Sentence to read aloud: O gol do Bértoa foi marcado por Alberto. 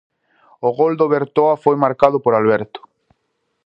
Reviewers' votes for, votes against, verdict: 2, 2, rejected